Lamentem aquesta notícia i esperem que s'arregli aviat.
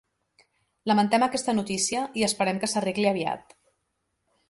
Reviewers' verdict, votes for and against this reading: accepted, 2, 0